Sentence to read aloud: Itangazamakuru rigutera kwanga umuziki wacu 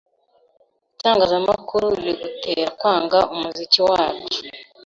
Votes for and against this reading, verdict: 2, 0, accepted